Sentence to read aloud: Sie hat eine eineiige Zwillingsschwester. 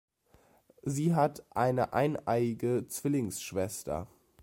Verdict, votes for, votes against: accepted, 2, 0